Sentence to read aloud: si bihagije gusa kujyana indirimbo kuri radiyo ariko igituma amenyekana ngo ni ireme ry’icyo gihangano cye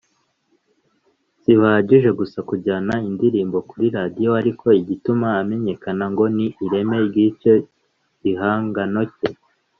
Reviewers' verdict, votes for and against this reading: accepted, 2, 0